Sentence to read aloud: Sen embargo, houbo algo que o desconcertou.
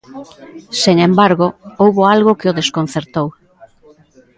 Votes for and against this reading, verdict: 2, 0, accepted